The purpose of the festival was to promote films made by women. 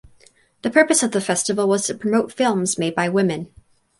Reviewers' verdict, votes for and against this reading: accepted, 4, 0